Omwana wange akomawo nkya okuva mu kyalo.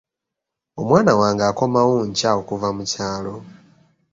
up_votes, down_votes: 2, 0